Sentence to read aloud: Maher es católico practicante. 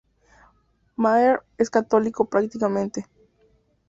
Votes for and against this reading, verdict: 2, 0, accepted